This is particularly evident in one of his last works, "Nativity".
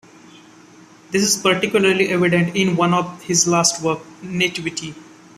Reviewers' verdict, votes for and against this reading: accepted, 2, 1